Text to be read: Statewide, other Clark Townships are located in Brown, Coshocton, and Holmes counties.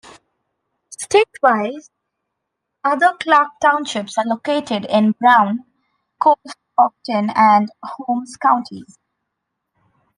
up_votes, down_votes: 0, 2